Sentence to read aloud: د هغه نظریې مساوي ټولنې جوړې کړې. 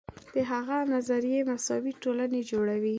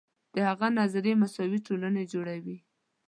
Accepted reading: first